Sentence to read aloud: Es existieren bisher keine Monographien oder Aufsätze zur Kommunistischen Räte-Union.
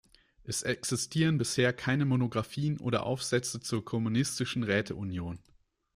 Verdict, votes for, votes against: accepted, 2, 0